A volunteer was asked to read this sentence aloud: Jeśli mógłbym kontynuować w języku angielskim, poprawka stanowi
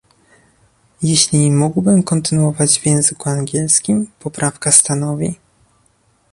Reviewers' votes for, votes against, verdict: 2, 0, accepted